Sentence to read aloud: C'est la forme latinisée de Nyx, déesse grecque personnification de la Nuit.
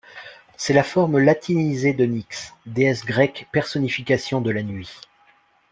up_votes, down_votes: 2, 0